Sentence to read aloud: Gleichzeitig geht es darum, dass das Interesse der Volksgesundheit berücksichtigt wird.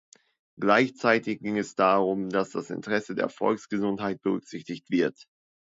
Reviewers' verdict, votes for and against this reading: rejected, 0, 2